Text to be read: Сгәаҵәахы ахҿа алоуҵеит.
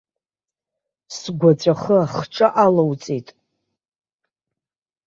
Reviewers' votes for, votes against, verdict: 2, 0, accepted